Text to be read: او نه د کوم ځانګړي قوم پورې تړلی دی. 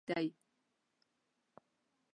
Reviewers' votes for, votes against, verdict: 0, 2, rejected